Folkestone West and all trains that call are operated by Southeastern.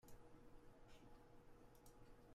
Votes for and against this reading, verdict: 0, 2, rejected